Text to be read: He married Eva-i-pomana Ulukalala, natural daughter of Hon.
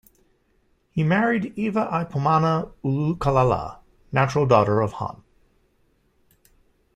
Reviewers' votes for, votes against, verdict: 2, 0, accepted